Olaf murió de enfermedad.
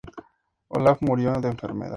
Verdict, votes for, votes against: accepted, 2, 0